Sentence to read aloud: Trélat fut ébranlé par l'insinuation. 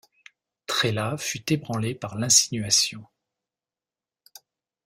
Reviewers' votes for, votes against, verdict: 2, 0, accepted